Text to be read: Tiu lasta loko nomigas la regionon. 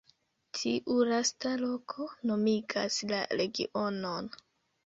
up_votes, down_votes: 2, 0